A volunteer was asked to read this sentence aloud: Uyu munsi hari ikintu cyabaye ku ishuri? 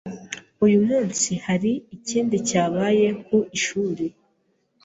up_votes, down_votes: 1, 2